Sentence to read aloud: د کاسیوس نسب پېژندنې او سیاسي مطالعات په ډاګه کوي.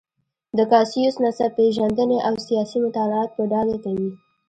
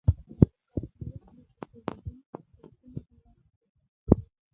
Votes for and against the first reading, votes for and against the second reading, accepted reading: 1, 2, 3, 2, second